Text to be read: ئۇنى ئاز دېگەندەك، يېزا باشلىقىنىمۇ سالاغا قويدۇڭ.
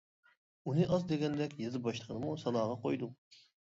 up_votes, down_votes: 2, 0